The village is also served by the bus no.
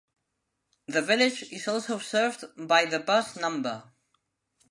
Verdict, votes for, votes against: rejected, 0, 2